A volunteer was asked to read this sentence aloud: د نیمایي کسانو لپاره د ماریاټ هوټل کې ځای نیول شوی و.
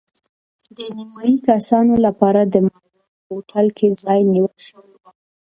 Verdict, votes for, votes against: rejected, 0, 2